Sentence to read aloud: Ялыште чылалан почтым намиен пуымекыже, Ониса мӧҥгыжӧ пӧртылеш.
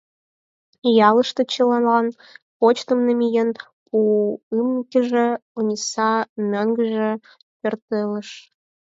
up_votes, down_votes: 0, 4